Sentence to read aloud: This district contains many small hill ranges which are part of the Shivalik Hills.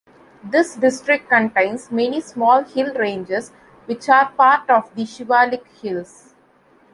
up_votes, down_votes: 2, 0